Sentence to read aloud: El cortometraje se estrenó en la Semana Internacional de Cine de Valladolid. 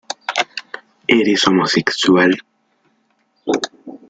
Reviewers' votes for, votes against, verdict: 0, 2, rejected